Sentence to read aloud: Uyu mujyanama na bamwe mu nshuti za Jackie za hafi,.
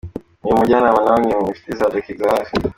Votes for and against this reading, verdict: 2, 1, accepted